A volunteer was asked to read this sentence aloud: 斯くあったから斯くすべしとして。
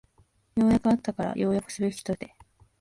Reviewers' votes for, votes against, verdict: 2, 1, accepted